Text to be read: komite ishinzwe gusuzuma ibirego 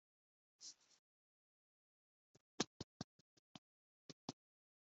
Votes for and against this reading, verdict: 2, 3, rejected